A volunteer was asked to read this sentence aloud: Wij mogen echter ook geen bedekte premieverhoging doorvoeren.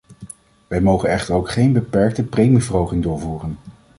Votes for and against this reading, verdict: 1, 2, rejected